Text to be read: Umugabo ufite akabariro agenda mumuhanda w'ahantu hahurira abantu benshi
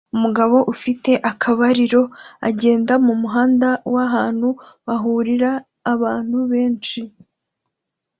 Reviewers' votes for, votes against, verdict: 2, 0, accepted